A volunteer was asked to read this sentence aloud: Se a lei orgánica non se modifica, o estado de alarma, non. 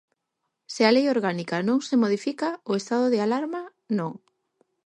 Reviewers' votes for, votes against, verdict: 4, 0, accepted